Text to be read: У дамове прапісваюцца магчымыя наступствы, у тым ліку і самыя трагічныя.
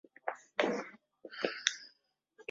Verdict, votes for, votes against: rejected, 0, 2